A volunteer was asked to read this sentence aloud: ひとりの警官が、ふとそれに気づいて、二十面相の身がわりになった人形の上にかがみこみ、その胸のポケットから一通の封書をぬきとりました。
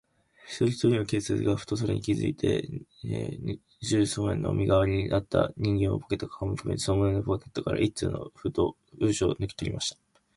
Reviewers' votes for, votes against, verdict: 0, 2, rejected